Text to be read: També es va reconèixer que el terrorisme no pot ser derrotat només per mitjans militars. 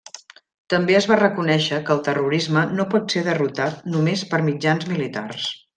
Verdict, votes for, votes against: accepted, 3, 0